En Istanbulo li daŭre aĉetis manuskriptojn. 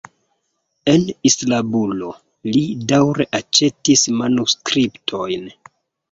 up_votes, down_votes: 0, 2